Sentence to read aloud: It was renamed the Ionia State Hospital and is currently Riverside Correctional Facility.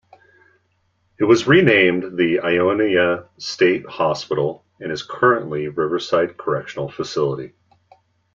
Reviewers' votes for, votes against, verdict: 2, 0, accepted